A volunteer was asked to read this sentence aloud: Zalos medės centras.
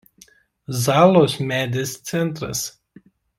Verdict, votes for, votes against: accepted, 3, 0